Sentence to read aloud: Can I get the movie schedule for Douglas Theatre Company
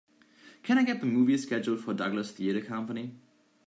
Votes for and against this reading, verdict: 2, 0, accepted